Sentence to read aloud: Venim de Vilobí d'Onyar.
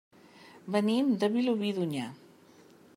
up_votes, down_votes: 3, 0